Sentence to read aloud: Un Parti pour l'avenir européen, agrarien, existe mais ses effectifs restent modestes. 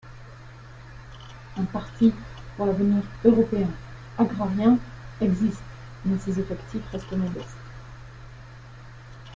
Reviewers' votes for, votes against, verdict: 0, 2, rejected